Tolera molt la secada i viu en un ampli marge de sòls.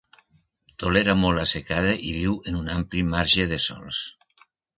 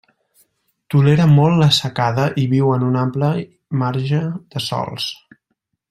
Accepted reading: first